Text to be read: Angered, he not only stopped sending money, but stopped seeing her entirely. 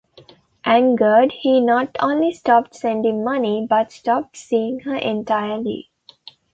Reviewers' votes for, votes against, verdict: 2, 0, accepted